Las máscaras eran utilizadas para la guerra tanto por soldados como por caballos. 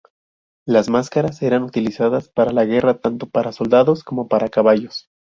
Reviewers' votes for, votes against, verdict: 0, 2, rejected